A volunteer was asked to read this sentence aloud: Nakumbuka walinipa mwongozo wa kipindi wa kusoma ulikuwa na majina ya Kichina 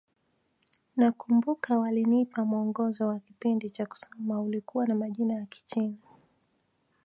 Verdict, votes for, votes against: accepted, 2, 1